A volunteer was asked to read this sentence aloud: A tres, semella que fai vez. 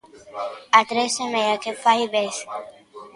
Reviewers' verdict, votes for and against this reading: accepted, 2, 0